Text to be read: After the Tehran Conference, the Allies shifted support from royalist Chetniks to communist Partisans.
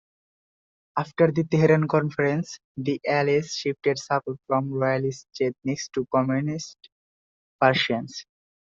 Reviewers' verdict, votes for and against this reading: rejected, 1, 2